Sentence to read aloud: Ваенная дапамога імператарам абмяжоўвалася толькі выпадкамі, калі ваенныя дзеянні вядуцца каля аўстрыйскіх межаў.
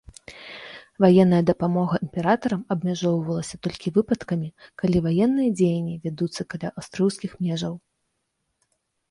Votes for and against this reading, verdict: 1, 2, rejected